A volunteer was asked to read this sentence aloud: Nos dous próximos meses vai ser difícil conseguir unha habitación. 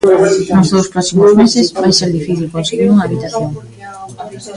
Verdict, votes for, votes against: rejected, 0, 2